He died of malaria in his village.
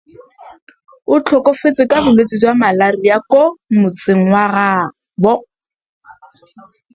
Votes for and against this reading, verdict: 0, 2, rejected